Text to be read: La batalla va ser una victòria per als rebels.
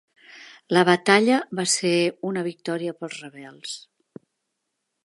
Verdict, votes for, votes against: rejected, 1, 2